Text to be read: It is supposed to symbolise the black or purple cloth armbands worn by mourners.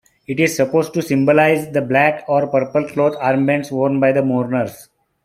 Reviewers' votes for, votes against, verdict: 1, 2, rejected